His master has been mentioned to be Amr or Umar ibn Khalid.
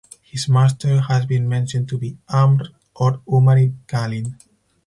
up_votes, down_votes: 4, 2